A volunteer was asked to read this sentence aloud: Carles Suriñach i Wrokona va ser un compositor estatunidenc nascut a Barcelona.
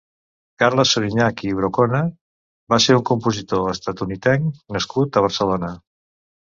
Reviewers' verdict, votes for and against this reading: rejected, 0, 2